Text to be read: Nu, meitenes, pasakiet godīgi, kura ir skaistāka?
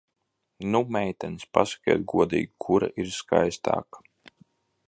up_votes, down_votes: 2, 0